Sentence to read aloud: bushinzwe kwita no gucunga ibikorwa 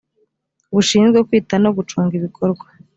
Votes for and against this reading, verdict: 3, 0, accepted